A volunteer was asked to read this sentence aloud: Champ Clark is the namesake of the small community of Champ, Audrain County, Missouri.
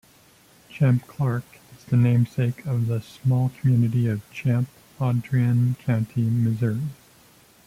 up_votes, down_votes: 0, 2